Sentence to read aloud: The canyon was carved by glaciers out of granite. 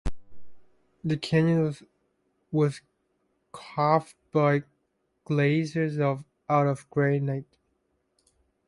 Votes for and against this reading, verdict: 1, 2, rejected